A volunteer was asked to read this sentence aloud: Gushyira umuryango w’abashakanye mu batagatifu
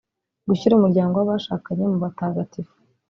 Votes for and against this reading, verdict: 2, 0, accepted